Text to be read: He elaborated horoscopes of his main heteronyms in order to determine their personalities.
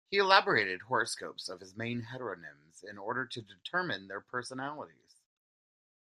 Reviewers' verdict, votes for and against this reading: accepted, 2, 1